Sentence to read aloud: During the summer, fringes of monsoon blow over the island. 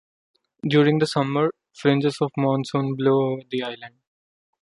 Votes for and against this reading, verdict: 0, 2, rejected